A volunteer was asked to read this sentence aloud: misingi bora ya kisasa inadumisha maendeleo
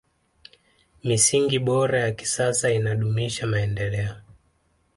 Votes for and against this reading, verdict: 2, 0, accepted